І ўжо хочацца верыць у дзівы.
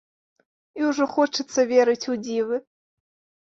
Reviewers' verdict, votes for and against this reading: accepted, 3, 0